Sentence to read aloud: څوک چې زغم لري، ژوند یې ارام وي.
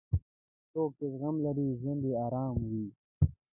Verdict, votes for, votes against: accepted, 2, 1